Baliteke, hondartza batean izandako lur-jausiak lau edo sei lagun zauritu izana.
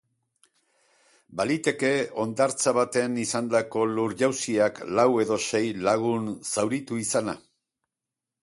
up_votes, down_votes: 4, 0